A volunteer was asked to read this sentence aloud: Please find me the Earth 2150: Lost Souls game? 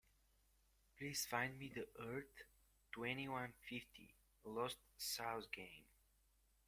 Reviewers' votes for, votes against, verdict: 0, 2, rejected